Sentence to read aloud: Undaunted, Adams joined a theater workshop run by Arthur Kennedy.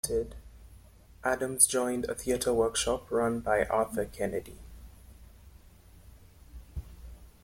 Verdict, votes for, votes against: rejected, 0, 2